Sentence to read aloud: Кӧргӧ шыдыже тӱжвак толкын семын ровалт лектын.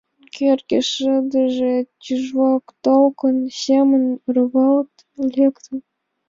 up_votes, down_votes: 2, 0